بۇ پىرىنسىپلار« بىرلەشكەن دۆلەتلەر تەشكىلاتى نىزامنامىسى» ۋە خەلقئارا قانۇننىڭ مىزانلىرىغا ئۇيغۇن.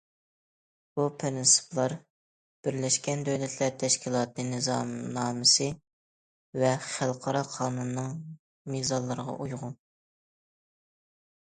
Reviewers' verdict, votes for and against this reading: accepted, 2, 0